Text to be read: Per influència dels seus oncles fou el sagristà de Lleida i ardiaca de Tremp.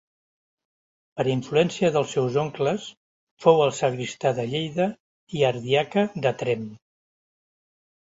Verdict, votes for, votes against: accepted, 3, 0